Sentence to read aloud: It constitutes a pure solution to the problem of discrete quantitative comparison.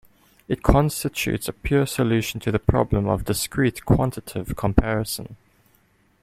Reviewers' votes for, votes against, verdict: 2, 0, accepted